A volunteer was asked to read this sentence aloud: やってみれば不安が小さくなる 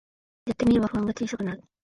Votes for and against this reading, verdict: 1, 2, rejected